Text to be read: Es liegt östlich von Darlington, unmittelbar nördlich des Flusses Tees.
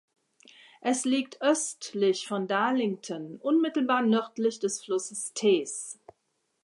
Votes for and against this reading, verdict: 2, 0, accepted